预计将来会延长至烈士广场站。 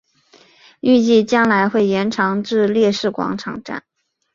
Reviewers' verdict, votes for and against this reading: accepted, 2, 0